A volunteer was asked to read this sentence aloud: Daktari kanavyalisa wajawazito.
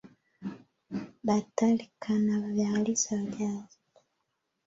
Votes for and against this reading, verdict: 0, 2, rejected